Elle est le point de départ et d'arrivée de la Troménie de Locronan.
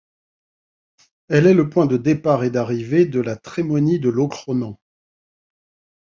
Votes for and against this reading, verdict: 1, 2, rejected